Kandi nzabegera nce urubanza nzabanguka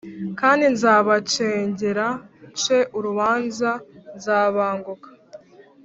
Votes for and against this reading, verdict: 1, 2, rejected